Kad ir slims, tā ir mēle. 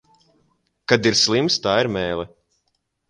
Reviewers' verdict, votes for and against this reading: accepted, 2, 0